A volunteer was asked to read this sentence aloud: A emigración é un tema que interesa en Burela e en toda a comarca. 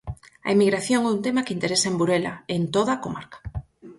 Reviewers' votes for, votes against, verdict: 4, 0, accepted